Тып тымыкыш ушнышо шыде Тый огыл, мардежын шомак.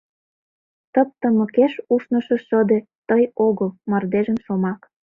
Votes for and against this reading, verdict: 1, 2, rejected